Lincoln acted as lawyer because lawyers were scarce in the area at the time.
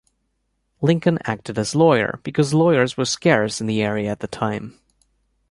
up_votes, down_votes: 2, 0